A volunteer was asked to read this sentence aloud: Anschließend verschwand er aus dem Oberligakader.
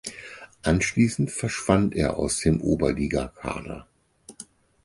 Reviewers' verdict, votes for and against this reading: accepted, 4, 0